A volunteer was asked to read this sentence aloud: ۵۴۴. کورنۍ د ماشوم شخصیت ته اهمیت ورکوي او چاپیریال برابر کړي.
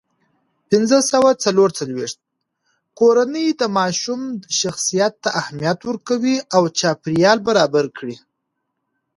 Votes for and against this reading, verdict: 0, 2, rejected